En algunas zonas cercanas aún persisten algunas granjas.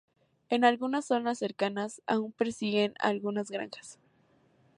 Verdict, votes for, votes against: rejected, 0, 2